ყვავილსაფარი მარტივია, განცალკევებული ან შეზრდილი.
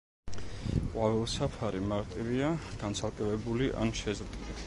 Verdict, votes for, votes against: accepted, 2, 0